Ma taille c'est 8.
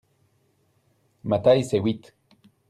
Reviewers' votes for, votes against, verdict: 0, 2, rejected